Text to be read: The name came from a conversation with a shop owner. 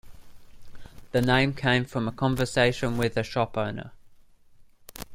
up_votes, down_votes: 2, 0